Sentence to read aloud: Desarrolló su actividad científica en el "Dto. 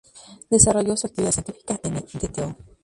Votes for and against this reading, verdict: 2, 0, accepted